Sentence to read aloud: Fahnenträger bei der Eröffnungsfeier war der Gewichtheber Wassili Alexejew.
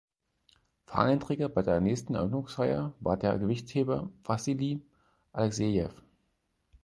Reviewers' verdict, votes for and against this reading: rejected, 0, 4